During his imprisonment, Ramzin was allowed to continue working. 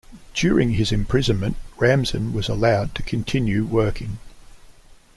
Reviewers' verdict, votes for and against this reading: accepted, 2, 0